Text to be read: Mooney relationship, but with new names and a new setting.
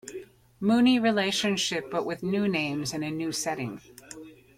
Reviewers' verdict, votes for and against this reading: accepted, 2, 0